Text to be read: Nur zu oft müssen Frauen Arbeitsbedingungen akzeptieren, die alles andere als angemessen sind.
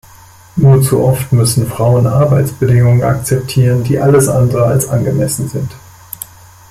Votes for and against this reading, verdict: 2, 0, accepted